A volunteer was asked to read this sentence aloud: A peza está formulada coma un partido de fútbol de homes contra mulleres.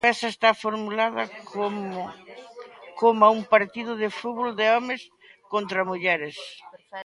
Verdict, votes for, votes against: rejected, 0, 2